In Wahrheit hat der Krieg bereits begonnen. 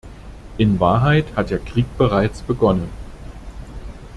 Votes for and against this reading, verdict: 2, 0, accepted